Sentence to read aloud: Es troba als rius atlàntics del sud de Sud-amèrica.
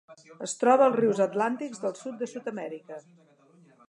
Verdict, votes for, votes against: accepted, 2, 0